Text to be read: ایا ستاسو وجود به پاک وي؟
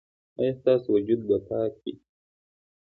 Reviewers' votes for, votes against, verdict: 2, 0, accepted